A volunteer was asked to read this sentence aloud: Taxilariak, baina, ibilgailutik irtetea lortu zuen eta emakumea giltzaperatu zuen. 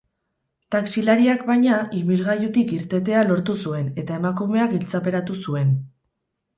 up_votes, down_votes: 10, 0